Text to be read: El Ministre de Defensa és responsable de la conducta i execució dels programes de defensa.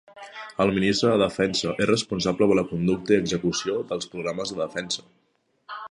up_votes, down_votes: 2, 0